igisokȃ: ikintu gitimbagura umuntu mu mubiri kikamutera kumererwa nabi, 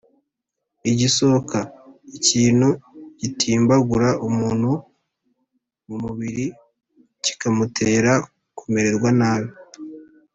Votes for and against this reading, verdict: 2, 0, accepted